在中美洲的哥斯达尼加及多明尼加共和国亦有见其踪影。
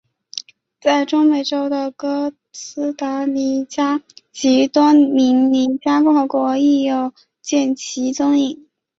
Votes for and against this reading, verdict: 2, 1, accepted